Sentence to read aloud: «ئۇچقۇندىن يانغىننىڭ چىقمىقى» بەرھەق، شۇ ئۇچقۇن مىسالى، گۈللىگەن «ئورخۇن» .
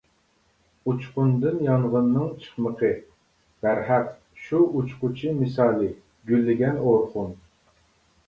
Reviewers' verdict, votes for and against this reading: rejected, 0, 2